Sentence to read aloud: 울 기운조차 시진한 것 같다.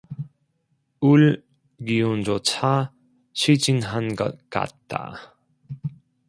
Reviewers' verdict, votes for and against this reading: rejected, 0, 2